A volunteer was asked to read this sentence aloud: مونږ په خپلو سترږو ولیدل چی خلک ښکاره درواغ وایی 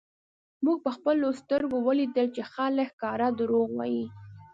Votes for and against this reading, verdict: 2, 0, accepted